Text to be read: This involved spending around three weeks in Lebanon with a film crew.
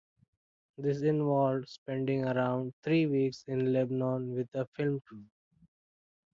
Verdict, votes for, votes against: accepted, 2, 0